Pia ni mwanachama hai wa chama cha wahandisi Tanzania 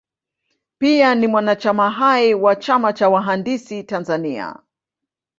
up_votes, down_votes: 2, 0